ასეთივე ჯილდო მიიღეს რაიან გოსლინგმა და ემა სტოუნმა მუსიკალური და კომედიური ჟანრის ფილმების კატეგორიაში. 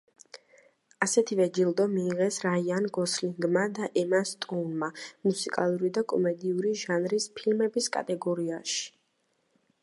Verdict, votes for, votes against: accepted, 2, 1